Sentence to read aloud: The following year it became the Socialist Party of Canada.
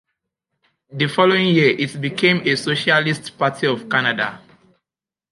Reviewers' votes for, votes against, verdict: 1, 2, rejected